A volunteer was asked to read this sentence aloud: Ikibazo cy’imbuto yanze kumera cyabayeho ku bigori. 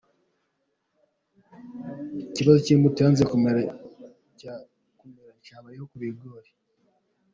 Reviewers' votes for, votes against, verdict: 0, 2, rejected